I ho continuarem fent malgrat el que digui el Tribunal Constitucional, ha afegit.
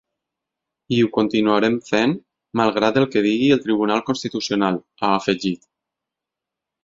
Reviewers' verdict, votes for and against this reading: accepted, 6, 0